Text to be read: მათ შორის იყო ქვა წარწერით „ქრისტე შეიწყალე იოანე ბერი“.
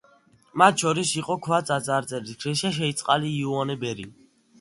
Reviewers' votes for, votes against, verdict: 0, 2, rejected